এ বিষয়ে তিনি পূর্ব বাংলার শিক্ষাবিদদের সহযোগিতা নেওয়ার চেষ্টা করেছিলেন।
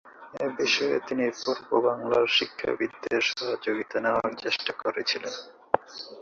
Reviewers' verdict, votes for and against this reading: rejected, 0, 2